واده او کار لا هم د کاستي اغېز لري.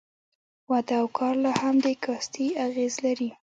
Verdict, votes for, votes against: rejected, 1, 2